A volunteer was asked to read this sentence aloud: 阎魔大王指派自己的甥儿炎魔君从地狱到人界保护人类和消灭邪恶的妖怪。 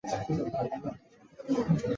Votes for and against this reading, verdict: 0, 2, rejected